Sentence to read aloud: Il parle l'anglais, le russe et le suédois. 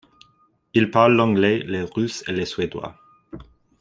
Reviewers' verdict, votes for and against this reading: accepted, 2, 0